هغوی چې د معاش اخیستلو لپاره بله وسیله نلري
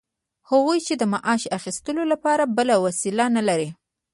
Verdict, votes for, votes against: accepted, 2, 0